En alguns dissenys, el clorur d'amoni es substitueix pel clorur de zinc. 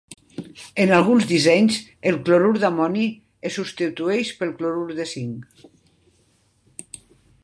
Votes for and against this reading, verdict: 2, 0, accepted